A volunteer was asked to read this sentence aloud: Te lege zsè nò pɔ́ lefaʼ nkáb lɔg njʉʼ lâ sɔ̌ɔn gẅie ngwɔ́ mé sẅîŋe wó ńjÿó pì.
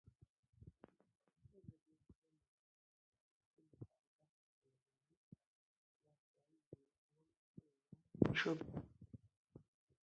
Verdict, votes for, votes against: rejected, 1, 2